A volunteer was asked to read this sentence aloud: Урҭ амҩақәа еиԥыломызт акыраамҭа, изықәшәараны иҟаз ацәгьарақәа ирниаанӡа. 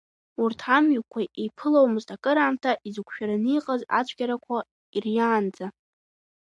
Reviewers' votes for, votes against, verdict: 3, 1, accepted